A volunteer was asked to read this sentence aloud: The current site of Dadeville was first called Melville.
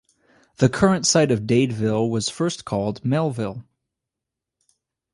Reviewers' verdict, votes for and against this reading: accepted, 2, 0